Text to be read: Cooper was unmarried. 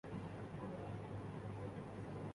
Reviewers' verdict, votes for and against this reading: rejected, 0, 2